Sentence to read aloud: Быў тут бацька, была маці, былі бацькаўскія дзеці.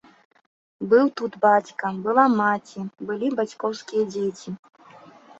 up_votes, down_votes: 1, 2